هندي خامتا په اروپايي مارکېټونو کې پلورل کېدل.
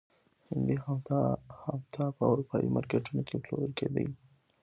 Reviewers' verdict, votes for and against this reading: accepted, 2, 1